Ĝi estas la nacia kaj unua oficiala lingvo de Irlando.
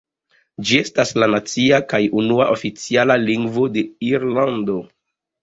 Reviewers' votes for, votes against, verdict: 2, 0, accepted